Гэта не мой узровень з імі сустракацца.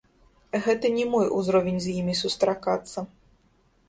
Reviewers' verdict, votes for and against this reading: rejected, 0, 2